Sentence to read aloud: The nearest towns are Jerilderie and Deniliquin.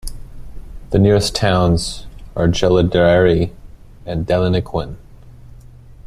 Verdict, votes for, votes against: accepted, 2, 0